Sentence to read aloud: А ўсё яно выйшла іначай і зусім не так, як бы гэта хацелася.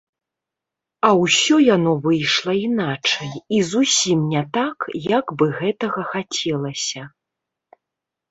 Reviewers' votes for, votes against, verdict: 1, 2, rejected